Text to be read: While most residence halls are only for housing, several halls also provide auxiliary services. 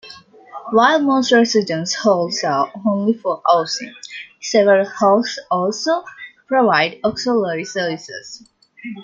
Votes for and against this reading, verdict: 2, 1, accepted